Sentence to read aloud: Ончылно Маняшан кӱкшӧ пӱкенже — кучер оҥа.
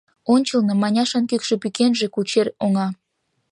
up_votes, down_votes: 2, 0